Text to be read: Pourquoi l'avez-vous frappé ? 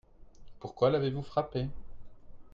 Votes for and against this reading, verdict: 2, 0, accepted